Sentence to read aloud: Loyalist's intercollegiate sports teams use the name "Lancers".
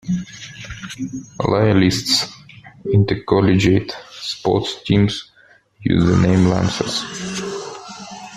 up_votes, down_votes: 0, 2